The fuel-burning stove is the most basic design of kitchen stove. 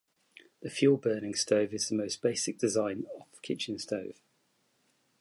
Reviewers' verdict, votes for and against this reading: accepted, 2, 0